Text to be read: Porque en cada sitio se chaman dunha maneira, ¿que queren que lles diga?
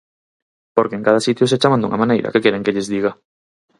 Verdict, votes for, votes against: accepted, 4, 0